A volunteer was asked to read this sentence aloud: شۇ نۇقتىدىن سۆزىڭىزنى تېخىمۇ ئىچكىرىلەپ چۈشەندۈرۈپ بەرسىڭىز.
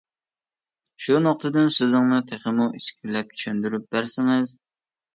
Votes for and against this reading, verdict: 0, 2, rejected